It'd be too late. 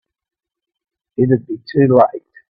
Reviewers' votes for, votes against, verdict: 2, 0, accepted